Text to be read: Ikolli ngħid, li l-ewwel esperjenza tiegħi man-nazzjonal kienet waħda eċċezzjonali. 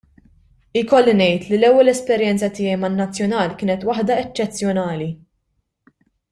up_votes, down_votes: 2, 0